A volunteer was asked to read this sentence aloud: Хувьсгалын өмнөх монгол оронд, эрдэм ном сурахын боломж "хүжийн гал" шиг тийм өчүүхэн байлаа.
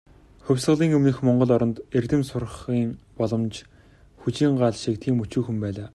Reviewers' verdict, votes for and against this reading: rejected, 0, 2